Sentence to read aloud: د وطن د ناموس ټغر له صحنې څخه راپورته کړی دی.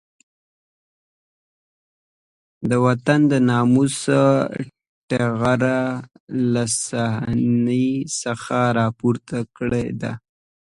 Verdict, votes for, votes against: rejected, 0, 2